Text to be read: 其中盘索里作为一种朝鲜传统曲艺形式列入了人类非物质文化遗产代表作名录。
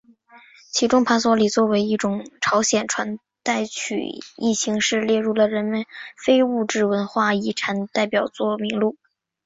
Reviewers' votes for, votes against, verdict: 0, 3, rejected